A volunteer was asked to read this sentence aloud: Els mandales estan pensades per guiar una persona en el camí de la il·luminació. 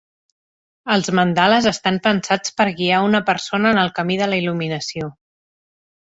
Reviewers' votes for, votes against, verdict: 0, 2, rejected